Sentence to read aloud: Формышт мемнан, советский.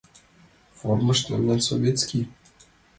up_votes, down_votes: 2, 0